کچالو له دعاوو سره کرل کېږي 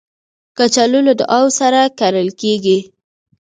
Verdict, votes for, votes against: accepted, 2, 0